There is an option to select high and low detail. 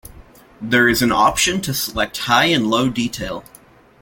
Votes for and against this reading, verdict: 2, 0, accepted